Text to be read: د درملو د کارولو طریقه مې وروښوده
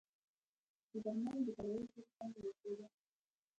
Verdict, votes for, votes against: accepted, 2, 1